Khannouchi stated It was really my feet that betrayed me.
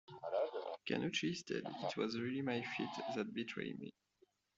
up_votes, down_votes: 1, 2